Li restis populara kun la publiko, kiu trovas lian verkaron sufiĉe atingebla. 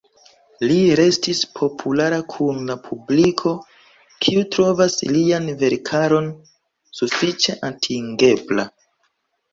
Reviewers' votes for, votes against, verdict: 2, 0, accepted